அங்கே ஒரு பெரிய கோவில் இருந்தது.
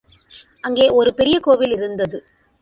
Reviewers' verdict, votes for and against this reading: accepted, 2, 0